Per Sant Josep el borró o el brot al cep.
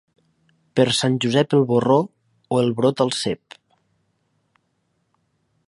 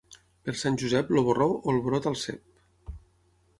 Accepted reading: first